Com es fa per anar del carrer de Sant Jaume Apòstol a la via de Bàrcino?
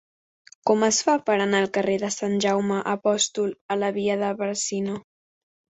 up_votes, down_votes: 0, 2